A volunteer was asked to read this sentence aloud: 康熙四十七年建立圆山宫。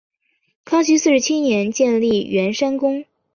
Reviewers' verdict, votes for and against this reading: accepted, 3, 0